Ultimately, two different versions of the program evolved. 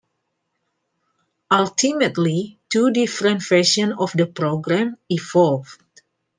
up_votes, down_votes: 2, 1